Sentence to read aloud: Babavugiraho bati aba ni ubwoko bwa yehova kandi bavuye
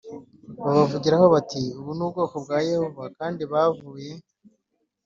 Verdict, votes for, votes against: accepted, 3, 0